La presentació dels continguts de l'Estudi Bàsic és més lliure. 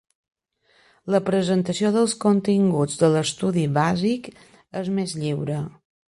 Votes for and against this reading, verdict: 2, 0, accepted